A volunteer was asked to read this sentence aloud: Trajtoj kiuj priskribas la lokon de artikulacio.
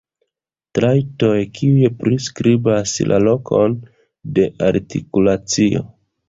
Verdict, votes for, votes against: accepted, 3, 0